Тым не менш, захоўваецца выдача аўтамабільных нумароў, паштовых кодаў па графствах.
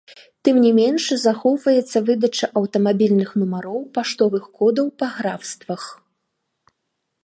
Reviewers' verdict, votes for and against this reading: accepted, 2, 0